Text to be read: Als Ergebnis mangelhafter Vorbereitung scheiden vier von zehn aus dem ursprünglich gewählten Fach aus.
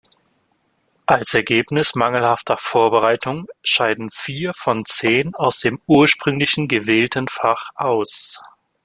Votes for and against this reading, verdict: 1, 2, rejected